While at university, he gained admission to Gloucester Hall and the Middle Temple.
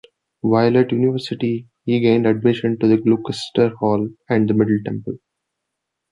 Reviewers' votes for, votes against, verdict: 2, 0, accepted